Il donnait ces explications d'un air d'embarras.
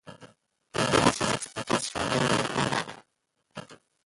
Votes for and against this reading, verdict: 0, 2, rejected